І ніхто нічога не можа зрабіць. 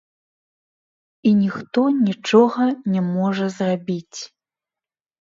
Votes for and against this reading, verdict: 1, 3, rejected